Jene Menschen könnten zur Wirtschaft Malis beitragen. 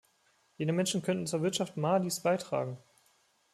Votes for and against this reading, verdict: 1, 2, rejected